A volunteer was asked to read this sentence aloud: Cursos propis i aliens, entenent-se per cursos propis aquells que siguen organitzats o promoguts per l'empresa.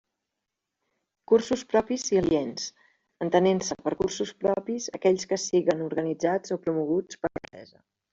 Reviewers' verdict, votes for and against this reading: accepted, 2, 1